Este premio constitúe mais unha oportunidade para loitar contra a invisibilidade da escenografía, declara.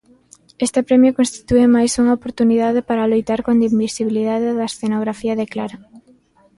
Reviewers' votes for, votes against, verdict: 0, 2, rejected